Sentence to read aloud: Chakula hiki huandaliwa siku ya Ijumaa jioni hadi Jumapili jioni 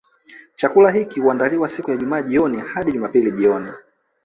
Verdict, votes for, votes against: accepted, 2, 0